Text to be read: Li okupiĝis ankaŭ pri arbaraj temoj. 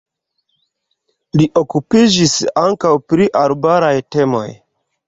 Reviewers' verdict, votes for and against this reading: rejected, 1, 2